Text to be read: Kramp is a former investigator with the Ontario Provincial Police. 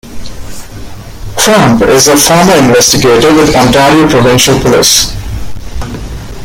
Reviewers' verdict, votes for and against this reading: rejected, 1, 2